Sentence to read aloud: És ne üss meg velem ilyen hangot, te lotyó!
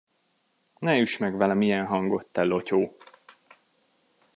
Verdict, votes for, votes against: rejected, 1, 2